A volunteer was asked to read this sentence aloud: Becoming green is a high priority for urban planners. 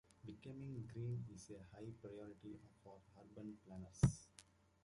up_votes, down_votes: 0, 2